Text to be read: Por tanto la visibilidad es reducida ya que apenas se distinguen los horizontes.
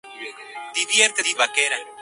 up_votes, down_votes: 0, 2